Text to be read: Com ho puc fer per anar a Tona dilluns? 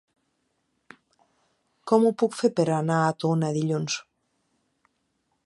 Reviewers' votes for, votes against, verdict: 3, 0, accepted